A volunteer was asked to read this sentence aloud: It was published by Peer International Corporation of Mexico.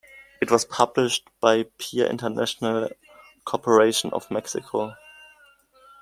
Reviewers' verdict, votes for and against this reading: accepted, 2, 0